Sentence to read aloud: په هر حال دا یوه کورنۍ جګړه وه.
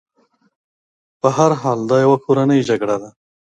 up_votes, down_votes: 2, 0